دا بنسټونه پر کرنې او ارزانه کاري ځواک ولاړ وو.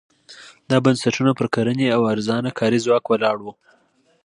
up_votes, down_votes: 2, 1